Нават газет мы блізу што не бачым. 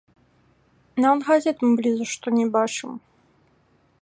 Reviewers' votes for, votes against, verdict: 0, 2, rejected